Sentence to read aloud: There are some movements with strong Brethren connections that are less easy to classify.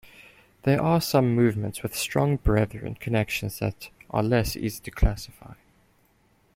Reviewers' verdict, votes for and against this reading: accepted, 2, 0